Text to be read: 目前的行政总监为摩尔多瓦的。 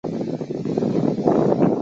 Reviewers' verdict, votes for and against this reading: rejected, 1, 2